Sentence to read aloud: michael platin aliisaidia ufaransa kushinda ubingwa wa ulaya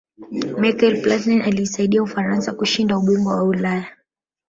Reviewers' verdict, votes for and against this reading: rejected, 2, 3